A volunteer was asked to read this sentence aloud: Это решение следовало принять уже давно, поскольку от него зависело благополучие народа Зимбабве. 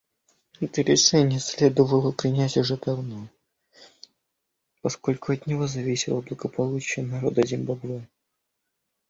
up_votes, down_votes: 2, 0